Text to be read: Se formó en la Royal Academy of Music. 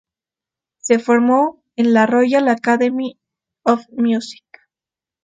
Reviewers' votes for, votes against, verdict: 2, 0, accepted